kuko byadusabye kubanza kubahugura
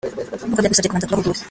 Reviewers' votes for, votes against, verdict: 0, 4, rejected